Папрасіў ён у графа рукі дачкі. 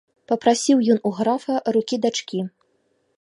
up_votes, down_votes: 2, 0